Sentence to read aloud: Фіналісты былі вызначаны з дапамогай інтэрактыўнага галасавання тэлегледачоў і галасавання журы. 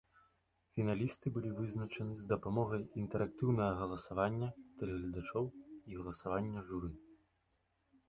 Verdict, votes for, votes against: accepted, 2, 0